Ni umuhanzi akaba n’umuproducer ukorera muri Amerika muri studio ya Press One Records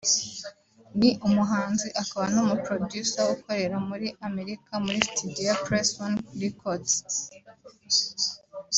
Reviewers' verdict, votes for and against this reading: accepted, 2, 0